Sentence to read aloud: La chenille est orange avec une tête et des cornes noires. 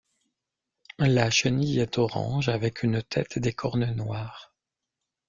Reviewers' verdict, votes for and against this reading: accepted, 2, 0